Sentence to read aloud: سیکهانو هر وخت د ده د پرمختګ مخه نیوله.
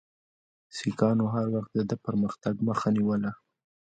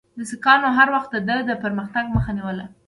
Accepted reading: second